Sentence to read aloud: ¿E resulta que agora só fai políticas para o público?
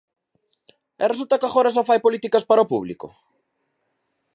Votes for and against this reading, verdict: 2, 0, accepted